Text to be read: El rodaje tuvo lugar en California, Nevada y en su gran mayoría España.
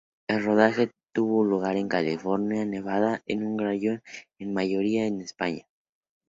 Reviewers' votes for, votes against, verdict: 2, 2, rejected